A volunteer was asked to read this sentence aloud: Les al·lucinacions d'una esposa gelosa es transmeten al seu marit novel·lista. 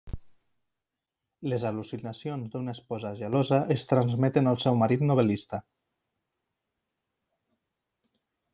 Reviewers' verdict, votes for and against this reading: accepted, 3, 0